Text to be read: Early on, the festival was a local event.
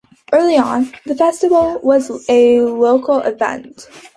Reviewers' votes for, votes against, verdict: 2, 0, accepted